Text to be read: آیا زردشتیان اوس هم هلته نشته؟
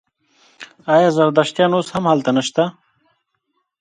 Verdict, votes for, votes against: accepted, 2, 0